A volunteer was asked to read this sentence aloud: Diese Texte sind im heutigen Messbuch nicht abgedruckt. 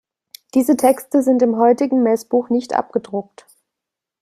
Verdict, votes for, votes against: accepted, 2, 0